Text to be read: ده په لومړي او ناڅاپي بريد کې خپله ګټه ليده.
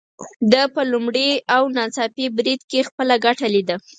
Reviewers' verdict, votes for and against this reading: accepted, 4, 0